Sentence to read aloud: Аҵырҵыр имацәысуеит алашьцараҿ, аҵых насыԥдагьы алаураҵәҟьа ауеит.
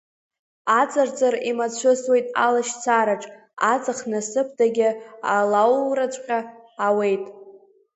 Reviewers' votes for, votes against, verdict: 1, 2, rejected